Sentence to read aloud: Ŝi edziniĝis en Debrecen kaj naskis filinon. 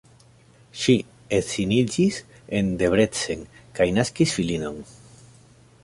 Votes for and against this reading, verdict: 2, 0, accepted